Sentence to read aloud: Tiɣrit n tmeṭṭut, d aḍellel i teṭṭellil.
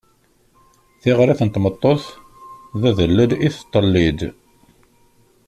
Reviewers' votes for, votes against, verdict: 1, 2, rejected